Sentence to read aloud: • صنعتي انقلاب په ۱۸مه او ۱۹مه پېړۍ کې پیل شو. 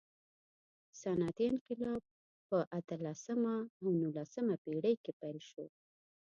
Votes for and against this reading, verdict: 0, 2, rejected